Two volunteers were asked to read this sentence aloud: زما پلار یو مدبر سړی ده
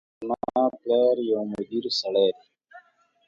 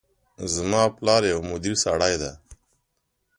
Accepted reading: second